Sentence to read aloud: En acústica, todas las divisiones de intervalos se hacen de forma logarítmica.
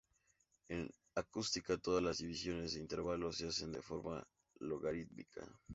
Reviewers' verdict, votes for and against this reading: accepted, 4, 0